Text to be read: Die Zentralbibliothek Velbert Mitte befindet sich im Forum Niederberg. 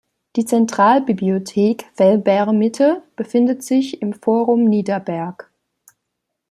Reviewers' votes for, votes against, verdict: 2, 0, accepted